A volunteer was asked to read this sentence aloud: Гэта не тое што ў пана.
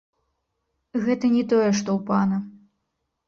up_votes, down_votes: 1, 2